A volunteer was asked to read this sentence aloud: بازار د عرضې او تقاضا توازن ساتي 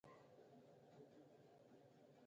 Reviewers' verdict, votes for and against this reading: rejected, 1, 2